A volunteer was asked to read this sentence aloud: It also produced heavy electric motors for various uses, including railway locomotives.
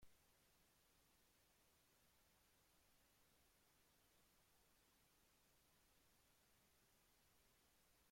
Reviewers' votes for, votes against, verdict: 0, 2, rejected